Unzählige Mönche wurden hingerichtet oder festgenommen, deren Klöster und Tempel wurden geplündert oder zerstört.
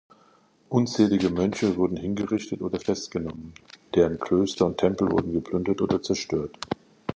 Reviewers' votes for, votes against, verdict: 2, 0, accepted